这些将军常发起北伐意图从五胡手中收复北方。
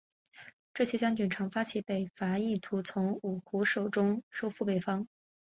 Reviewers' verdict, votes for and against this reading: accepted, 2, 0